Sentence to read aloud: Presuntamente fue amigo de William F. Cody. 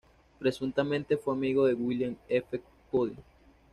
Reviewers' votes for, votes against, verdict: 2, 0, accepted